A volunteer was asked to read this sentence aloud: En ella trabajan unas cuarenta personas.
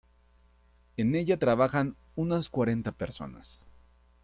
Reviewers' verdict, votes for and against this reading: accepted, 2, 0